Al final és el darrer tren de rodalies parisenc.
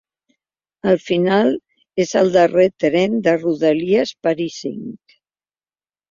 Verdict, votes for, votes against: accepted, 2, 1